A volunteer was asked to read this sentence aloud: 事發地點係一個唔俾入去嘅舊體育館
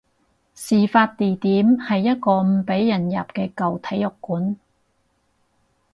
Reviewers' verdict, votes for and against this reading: rejected, 0, 2